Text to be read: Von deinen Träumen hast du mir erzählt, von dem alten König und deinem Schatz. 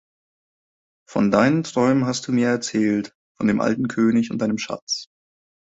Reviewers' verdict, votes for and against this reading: accepted, 2, 1